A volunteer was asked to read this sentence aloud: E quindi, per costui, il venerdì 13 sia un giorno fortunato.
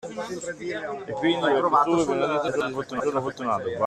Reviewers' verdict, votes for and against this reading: rejected, 0, 2